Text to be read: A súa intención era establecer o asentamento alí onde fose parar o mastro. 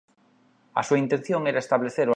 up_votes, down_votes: 0, 3